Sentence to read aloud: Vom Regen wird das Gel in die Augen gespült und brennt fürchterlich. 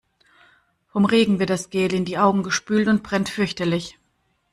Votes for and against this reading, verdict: 2, 1, accepted